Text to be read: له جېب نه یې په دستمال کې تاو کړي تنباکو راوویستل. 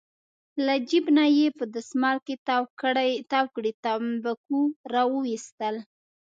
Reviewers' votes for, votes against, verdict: 1, 2, rejected